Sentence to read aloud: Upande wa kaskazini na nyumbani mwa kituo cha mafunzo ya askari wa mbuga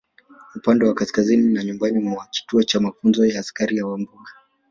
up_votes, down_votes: 1, 2